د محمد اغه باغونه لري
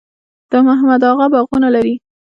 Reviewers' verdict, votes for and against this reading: accepted, 2, 0